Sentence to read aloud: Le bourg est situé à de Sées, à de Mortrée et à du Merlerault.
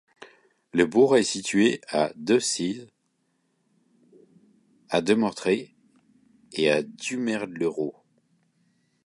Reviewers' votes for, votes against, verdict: 1, 2, rejected